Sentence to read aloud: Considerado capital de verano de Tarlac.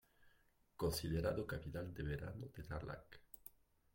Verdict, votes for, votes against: rejected, 0, 2